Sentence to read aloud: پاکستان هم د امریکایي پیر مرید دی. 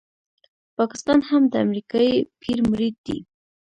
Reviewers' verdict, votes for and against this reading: accepted, 2, 0